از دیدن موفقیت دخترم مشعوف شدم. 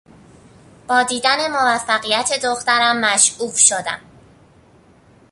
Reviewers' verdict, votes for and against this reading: rejected, 0, 2